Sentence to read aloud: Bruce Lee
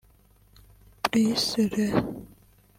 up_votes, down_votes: 1, 2